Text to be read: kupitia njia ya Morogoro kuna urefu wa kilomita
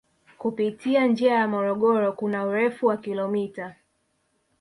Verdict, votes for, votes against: rejected, 1, 2